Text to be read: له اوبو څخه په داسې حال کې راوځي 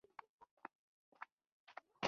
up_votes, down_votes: 1, 2